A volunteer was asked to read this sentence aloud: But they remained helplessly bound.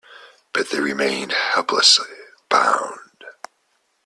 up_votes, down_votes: 2, 1